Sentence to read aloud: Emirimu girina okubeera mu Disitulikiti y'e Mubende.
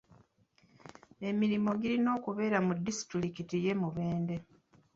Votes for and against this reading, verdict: 0, 2, rejected